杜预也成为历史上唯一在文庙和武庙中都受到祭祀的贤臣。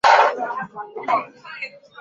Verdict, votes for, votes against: rejected, 0, 2